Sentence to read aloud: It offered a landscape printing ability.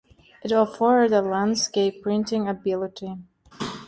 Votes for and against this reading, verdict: 2, 0, accepted